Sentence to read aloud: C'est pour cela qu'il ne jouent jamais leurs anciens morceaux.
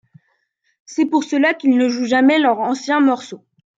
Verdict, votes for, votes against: accepted, 2, 0